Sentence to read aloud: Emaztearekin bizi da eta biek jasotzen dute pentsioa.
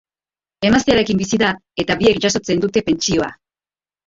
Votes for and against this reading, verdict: 3, 1, accepted